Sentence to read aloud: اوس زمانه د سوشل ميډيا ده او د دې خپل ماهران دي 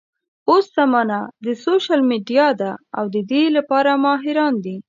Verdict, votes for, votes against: rejected, 1, 2